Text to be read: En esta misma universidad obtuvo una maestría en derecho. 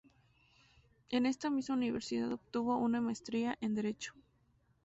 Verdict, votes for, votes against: accepted, 2, 0